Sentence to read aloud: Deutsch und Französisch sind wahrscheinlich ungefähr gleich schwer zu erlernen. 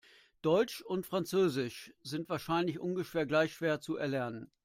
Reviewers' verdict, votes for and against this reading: accepted, 2, 0